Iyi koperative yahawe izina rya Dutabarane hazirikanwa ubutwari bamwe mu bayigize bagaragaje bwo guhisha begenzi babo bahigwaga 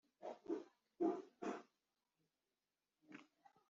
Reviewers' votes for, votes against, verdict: 0, 2, rejected